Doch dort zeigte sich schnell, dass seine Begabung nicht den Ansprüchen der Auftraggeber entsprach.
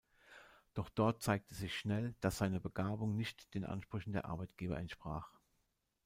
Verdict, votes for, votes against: rejected, 0, 2